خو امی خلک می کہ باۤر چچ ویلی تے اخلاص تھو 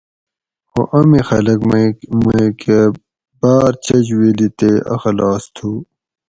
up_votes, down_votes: 2, 2